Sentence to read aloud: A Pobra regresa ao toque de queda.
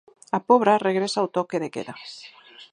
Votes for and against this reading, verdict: 4, 2, accepted